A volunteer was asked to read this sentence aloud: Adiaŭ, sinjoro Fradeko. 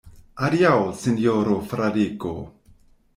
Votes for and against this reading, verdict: 1, 2, rejected